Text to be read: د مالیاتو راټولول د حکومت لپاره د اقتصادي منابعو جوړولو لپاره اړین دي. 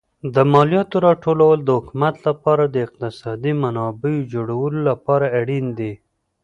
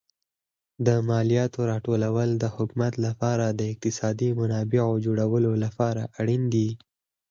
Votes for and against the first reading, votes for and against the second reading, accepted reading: 1, 2, 6, 4, second